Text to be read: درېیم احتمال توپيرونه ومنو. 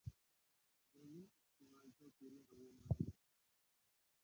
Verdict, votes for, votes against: rejected, 0, 2